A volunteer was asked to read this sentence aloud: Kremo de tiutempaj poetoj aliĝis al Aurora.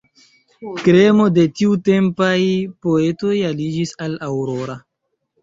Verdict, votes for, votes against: accepted, 2, 1